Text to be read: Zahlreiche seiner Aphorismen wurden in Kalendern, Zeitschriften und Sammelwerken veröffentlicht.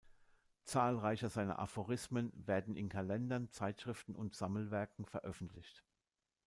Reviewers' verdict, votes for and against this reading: rejected, 1, 2